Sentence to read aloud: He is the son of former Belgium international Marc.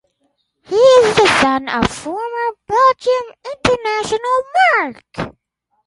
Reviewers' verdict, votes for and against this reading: accepted, 4, 2